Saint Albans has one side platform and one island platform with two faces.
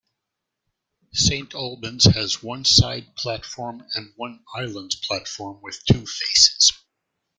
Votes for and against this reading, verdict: 1, 2, rejected